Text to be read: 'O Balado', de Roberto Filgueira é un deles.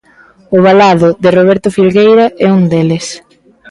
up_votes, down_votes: 0, 2